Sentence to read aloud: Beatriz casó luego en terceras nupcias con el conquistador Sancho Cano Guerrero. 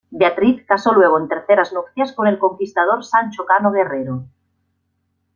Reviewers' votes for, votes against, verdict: 2, 0, accepted